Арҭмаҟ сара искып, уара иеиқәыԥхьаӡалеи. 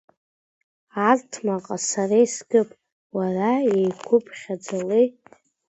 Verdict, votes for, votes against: rejected, 0, 2